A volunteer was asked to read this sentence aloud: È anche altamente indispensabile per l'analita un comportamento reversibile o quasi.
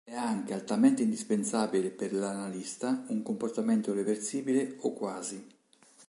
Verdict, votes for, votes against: rejected, 1, 2